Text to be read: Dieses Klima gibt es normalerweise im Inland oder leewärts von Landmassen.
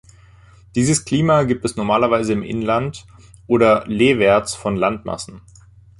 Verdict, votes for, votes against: accepted, 2, 0